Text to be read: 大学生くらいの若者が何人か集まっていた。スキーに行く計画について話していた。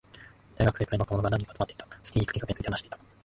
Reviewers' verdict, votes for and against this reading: rejected, 1, 2